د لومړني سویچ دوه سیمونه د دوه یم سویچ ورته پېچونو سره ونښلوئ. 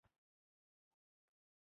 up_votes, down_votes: 1, 2